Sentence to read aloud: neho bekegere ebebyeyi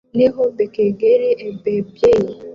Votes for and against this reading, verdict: 1, 2, rejected